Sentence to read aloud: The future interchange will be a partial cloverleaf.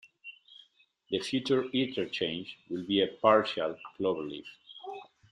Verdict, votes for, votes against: rejected, 1, 2